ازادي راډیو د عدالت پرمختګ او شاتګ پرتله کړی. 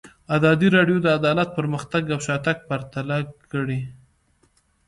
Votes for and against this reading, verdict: 2, 0, accepted